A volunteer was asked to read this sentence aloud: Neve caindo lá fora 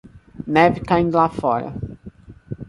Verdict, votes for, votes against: accepted, 2, 0